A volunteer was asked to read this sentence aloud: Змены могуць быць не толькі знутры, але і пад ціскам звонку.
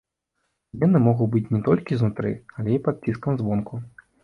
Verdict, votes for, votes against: rejected, 0, 2